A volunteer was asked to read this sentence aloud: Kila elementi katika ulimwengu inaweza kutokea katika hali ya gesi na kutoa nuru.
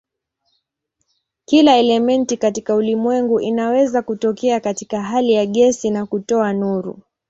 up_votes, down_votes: 2, 0